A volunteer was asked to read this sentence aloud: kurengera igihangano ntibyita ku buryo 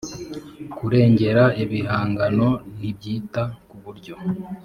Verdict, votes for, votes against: rejected, 1, 2